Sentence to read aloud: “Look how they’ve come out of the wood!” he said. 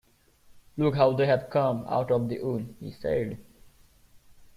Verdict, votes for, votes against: rejected, 0, 2